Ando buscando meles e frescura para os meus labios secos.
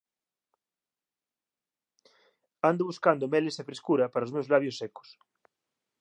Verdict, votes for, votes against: accepted, 2, 0